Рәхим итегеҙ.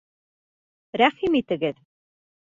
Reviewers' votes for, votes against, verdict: 2, 1, accepted